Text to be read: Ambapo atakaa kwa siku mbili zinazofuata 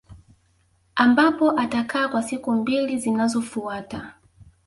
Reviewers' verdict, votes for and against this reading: rejected, 0, 2